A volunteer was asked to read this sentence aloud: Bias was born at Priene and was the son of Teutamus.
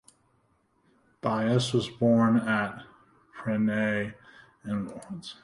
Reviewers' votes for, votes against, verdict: 1, 2, rejected